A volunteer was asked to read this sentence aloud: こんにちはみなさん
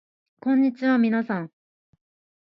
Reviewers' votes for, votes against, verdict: 2, 0, accepted